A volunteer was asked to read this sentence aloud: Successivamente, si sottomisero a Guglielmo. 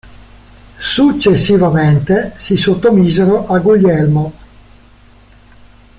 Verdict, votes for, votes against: accepted, 2, 0